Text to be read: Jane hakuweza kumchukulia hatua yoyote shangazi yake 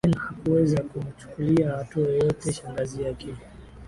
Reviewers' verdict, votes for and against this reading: rejected, 0, 4